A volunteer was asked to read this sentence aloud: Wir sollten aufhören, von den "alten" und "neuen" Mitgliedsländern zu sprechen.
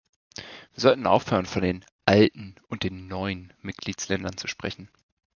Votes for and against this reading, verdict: 2, 1, accepted